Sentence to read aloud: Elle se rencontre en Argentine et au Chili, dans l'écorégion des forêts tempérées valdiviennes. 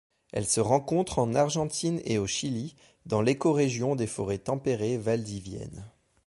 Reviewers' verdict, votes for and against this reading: accepted, 2, 0